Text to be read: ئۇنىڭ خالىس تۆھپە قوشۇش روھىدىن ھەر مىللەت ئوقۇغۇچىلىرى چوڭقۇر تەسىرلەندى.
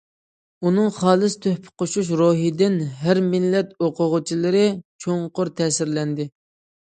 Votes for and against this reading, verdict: 2, 0, accepted